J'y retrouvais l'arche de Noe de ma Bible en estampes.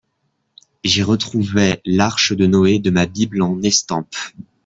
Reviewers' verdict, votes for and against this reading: accepted, 2, 0